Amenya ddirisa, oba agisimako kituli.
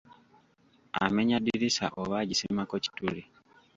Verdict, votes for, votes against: rejected, 1, 2